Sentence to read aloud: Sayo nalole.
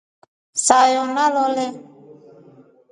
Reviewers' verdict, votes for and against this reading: accepted, 2, 0